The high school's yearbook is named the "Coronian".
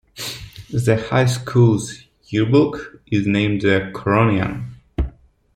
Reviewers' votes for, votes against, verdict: 2, 0, accepted